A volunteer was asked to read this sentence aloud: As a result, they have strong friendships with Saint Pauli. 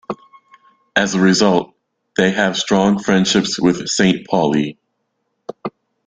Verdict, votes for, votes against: accepted, 2, 0